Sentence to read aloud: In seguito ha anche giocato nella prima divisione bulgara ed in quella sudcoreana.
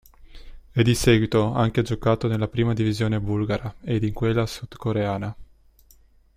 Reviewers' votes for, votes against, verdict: 1, 2, rejected